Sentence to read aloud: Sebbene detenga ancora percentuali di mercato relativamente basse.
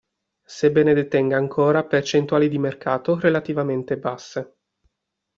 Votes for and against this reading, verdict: 2, 0, accepted